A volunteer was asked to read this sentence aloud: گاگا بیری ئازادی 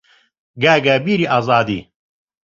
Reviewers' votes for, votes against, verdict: 2, 0, accepted